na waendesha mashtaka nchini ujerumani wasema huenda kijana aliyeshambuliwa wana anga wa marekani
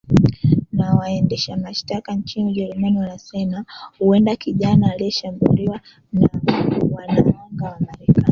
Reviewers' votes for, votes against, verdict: 1, 2, rejected